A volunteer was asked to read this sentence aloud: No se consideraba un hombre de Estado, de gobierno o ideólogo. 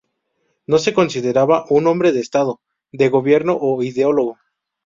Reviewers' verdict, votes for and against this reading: rejected, 0, 2